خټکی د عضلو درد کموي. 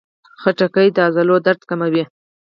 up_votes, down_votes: 4, 0